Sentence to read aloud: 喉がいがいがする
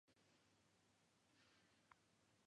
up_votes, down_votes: 0, 2